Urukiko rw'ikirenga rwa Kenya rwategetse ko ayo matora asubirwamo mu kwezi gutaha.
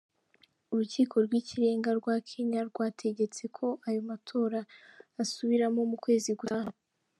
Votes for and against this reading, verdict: 1, 2, rejected